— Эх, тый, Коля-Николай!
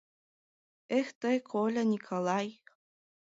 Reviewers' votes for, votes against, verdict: 1, 2, rejected